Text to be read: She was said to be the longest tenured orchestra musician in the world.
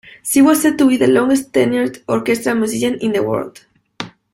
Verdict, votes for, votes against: rejected, 1, 2